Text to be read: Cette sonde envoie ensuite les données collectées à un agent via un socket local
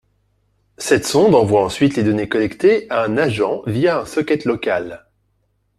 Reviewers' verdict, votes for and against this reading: accepted, 4, 1